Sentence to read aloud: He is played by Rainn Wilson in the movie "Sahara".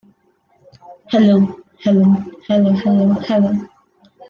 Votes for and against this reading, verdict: 0, 2, rejected